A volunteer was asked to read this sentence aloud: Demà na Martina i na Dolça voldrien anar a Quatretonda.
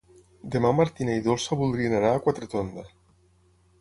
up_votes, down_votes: 3, 6